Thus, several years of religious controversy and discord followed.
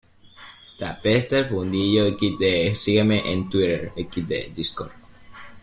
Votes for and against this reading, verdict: 0, 2, rejected